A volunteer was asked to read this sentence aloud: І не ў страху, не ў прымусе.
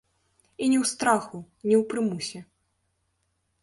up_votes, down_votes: 0, 2